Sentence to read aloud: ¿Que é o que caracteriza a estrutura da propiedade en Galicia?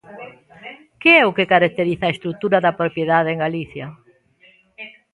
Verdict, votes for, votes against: rejected, 1, 2